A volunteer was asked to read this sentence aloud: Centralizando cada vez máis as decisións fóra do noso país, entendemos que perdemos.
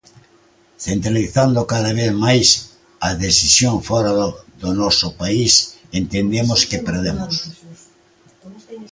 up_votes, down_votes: 0, 2